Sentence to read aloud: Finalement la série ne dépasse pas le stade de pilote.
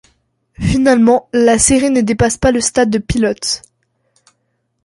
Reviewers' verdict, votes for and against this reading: accepted, 2, 0